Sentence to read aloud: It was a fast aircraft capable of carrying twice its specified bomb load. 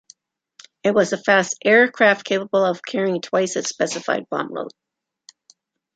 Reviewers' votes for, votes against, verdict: 2, 0, accepted